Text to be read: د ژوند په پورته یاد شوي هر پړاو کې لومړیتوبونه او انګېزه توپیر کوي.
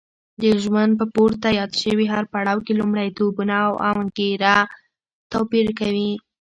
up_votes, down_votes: 0, 2